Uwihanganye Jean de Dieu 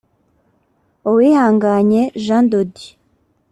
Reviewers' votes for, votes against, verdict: 2, 0, accepted